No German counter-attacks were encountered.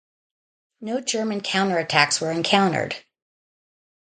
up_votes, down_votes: 2, 0